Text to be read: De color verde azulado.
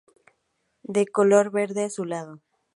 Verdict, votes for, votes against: accepted, 2, 0